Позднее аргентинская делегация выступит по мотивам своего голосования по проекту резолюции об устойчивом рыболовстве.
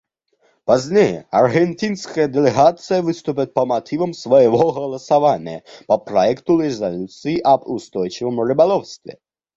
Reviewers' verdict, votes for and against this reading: accepted, 2, 0